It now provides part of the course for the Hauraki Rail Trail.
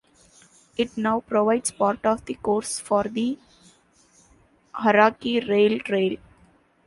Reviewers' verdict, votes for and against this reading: accepted, 2, 0